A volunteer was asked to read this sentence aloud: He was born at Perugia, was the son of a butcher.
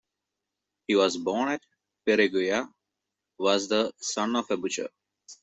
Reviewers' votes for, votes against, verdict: 2, 0, accepted